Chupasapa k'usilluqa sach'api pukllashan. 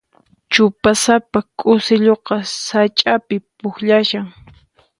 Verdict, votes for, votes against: accepted, 4, 0